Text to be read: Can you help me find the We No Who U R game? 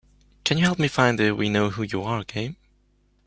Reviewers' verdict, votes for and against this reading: accepted, 2, 0